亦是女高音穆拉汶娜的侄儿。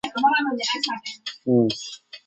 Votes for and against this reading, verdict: 0, 2, rejected